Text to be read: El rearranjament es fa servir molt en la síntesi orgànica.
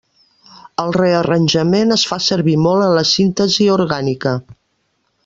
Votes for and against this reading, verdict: 1, 2, rejected